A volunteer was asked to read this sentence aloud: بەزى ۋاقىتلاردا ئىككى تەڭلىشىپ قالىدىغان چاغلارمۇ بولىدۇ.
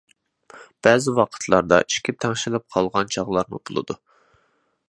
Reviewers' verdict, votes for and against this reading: rejected, 0, 2